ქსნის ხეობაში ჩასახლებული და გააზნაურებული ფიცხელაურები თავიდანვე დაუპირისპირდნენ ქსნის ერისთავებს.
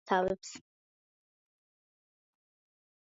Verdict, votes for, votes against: rejected, 0, 2